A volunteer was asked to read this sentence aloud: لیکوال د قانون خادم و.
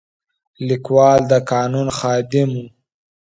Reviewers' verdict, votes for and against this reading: rejected, 1, 2